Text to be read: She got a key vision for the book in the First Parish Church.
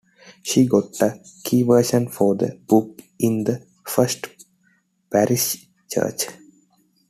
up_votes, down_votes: 2, 1